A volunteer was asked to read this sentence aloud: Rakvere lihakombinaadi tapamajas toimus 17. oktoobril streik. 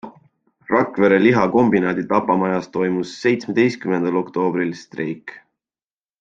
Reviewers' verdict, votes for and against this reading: rejected, 0, 2